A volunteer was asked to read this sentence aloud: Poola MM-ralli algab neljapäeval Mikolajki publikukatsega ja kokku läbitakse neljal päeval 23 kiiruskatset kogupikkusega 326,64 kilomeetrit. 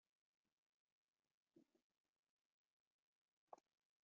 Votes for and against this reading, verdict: 0, 2, rejected